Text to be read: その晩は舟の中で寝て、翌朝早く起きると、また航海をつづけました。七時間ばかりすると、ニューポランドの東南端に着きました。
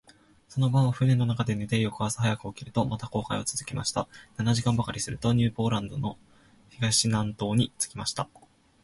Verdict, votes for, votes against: rejected, 2, 2